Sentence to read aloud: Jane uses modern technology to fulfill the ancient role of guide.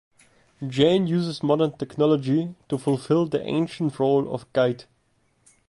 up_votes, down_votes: 2, 0